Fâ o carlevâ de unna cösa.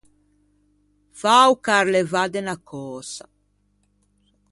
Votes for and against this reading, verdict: 2, 0, accepted